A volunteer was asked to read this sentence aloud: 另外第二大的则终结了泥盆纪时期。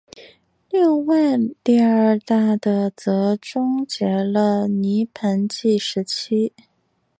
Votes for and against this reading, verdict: 4, 2, accepted